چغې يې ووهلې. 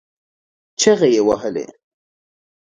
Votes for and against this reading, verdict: 2, 0, accepted